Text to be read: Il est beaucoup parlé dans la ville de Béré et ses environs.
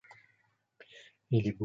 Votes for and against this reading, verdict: 0, 2, rejected